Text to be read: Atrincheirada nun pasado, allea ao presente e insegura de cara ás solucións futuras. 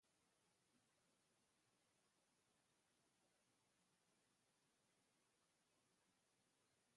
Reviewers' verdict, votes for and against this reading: rejected, 0, 2